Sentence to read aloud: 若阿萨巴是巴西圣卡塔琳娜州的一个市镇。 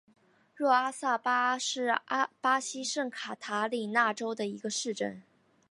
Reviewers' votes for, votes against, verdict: 0, 2, rejected